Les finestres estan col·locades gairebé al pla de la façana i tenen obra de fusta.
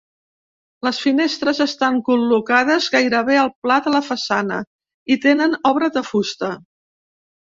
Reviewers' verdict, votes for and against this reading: accepted, 2, 0